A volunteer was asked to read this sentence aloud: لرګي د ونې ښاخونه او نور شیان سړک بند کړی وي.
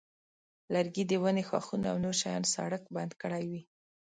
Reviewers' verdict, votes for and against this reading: accepted, 2, 0